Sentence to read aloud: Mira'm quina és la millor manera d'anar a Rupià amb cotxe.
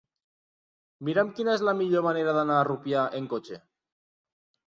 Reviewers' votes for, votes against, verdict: 1, 3, rejected